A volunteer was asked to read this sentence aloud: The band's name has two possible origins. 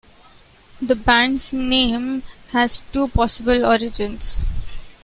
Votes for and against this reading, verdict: 2, 0, accepted